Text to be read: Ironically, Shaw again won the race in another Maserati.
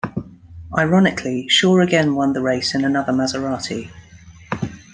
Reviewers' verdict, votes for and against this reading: accepted, 3, 0